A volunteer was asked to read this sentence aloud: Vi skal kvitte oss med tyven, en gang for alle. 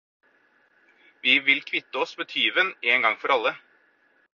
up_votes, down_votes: 0, 4